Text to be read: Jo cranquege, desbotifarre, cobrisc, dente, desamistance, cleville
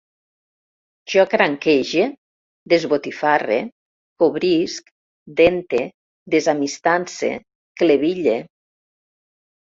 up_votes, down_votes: 2, 0